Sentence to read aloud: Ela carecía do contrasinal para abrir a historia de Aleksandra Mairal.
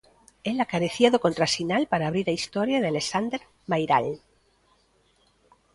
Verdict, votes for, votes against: rejected, 0, 2